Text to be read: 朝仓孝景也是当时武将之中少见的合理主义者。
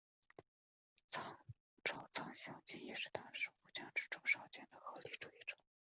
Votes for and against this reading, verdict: 1, 2, rejected